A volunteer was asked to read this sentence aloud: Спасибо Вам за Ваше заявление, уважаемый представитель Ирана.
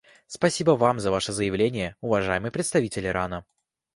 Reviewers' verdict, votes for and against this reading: accepted, 2, 0